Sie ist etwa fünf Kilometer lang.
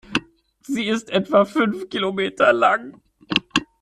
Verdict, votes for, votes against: rejected, 1, 2